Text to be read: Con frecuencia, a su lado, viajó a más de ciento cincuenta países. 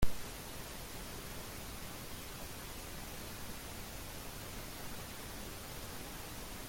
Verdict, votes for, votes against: rejected, 0, 2